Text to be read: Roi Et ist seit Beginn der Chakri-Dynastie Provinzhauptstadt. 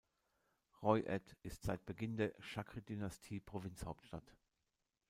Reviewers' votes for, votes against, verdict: 1, 2, rejected